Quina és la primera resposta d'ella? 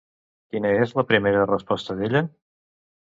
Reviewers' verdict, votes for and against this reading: accepted, 2, 0